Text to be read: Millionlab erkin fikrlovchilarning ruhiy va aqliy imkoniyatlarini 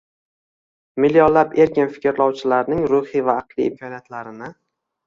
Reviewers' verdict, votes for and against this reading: rejected, 1, 2